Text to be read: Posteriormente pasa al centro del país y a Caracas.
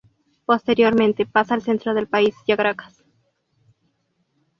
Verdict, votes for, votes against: accepted, 2, 0